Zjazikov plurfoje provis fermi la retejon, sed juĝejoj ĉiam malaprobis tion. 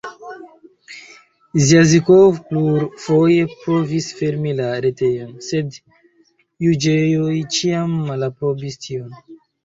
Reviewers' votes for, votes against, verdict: 2, 0, accepted